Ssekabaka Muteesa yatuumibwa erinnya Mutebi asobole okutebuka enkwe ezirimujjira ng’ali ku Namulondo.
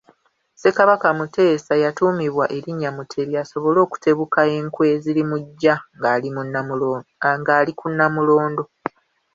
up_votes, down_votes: 1, 2